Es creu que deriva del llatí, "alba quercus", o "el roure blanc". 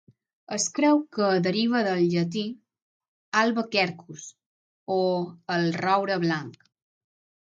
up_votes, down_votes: 6, 0